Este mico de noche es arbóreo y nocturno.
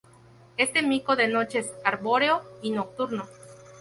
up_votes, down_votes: 2, 0